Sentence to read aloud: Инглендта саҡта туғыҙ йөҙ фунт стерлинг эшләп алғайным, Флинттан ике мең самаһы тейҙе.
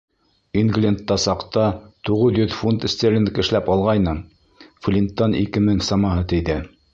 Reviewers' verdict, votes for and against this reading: accepted, 2, 0